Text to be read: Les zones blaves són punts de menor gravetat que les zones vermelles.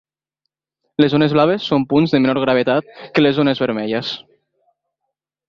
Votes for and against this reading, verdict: 2, 0, accepted